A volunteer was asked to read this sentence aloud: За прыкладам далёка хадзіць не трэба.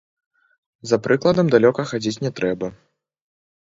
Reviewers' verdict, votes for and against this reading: rejected, 0, 2